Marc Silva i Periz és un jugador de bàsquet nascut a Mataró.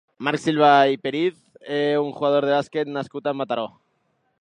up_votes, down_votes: 0, 2